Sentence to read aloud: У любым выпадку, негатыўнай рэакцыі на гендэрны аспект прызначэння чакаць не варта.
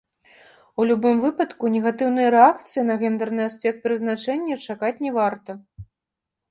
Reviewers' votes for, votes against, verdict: 2, 0, accepted